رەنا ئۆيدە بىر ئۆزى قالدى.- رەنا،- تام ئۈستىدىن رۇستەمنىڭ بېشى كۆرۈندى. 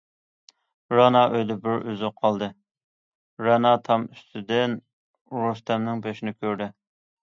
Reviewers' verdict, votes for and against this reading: rejected, 0, 2